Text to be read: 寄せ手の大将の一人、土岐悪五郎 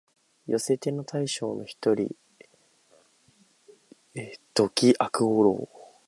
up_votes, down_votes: 2, 0